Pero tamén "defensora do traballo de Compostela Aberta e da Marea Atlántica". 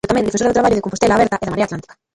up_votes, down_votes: 0, 2